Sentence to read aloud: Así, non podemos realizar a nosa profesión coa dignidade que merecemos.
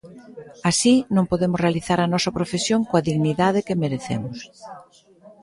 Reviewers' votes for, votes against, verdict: 2, 0, accepted